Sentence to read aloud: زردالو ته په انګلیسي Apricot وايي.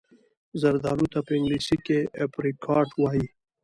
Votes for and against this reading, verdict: 1, 2, rejected